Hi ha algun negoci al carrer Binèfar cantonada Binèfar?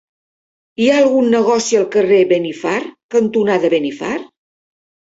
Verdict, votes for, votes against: rejected, 0, 4